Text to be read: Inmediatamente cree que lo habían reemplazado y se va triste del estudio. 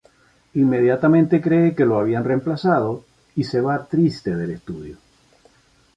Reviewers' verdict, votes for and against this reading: accepted, 3, 0